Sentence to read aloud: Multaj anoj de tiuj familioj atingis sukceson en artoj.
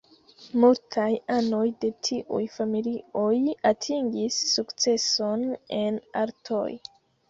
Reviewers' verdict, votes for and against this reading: accepted, 2, 0